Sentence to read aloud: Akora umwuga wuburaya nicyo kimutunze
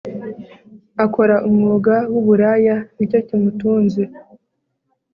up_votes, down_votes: 2, 0